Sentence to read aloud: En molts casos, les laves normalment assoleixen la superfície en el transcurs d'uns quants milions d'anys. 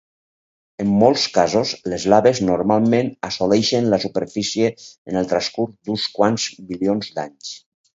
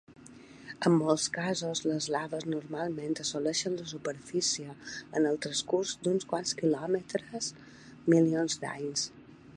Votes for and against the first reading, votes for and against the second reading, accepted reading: 4, 0, 1, 3, first